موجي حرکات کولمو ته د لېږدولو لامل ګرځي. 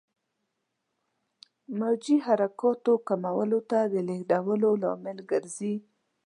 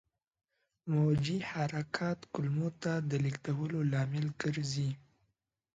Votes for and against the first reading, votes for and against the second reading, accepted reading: 1, 2, 2, 0, second